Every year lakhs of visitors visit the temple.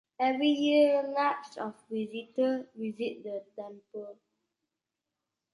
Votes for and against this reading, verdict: 2, 1, accepted